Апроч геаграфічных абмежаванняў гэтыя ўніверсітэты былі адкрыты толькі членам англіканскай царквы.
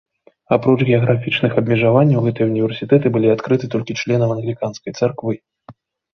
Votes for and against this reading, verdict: 3, 0, accepted